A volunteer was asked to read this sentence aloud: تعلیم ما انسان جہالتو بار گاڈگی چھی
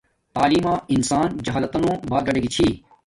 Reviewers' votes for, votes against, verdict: 1, 2, rejected